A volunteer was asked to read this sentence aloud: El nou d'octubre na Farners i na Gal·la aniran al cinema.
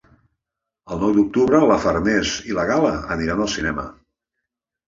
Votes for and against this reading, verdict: 1, 2, rejected